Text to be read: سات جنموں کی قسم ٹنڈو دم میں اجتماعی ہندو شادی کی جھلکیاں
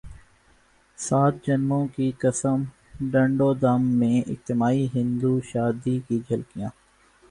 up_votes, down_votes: 1, 2